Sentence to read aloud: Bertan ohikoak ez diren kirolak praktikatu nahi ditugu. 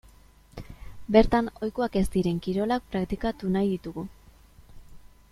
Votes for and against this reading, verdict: 2, 0, accepted